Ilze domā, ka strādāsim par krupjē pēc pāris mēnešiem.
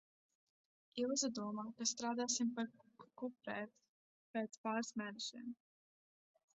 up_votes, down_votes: 1, 2